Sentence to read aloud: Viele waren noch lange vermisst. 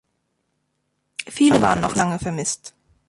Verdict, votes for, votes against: accepted, 2, 0